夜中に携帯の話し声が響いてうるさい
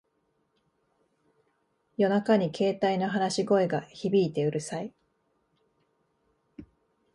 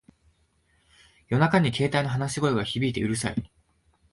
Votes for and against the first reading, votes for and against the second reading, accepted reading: 2, 1, 1, 2, first